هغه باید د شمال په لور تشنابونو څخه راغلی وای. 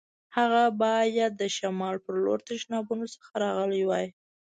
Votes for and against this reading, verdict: 2, 1, accepted